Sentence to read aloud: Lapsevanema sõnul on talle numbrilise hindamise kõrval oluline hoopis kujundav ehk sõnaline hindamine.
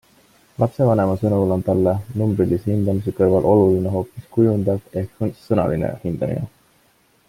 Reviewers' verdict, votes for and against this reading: accepted, 2, 0